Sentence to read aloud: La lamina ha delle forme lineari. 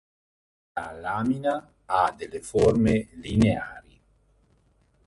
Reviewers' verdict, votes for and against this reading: accepted, 2, 1